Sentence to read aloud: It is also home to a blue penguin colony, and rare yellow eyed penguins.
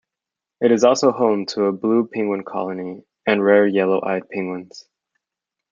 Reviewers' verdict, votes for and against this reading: accepted, 2, 0